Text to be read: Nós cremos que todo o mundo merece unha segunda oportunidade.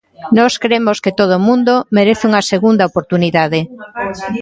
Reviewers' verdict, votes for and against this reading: accepted, 2, 0